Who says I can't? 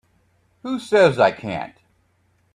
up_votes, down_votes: 2, 0